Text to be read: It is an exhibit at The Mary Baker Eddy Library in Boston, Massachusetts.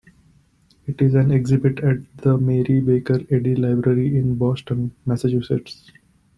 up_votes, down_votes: 2, 0